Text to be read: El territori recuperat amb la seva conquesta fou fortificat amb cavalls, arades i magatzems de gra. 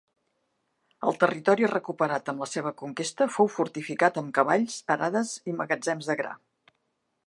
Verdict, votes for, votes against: accepted, 2, 0